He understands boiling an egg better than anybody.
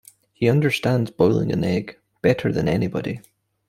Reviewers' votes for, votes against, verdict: 2, 0, accepted